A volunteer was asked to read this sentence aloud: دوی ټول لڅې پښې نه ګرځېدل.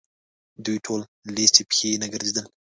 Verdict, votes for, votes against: rejected, 1, 2